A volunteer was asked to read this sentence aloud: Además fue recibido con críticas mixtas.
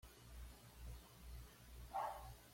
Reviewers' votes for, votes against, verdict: 1, 2, rejected